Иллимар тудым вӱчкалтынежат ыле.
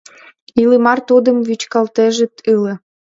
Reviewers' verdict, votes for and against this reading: rejected, 0, 2